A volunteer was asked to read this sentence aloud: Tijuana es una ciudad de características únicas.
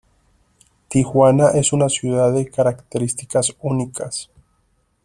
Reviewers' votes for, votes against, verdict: 2, 0, accepted